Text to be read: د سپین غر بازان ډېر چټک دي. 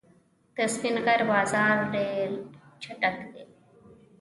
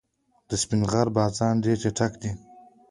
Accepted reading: second